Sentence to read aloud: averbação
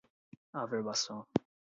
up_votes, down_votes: 4, 0